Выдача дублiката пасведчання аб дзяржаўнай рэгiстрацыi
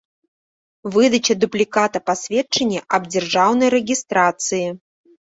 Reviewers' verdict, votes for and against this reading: rejected, 0, 2